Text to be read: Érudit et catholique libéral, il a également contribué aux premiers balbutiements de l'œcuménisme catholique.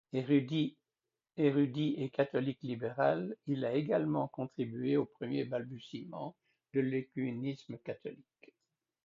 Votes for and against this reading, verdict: 1, 2, rejected